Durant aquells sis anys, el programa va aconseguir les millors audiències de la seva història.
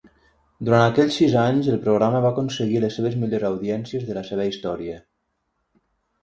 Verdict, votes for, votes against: rejected, 3, 6